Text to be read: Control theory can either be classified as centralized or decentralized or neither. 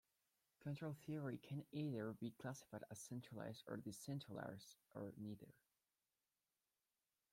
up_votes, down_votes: 1, 2